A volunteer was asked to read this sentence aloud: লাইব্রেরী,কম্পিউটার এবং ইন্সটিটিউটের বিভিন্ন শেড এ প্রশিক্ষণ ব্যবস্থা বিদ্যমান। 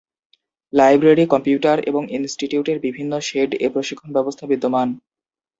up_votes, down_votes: 22, 3